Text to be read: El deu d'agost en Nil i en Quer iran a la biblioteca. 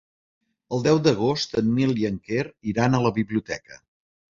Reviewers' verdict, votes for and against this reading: accepted, 2, 0